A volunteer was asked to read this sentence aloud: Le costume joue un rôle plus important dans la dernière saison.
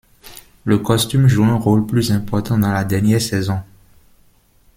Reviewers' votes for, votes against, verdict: 1, 2, rejected